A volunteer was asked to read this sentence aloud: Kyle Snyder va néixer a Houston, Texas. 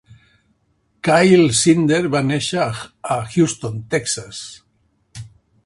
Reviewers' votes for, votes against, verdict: 1, 2, rejected